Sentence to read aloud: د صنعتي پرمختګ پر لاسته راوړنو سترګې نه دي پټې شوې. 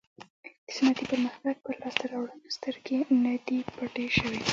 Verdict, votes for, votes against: accepted, 2, 1